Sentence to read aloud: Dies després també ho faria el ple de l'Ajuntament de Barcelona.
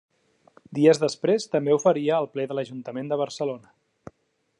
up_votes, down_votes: 2, 0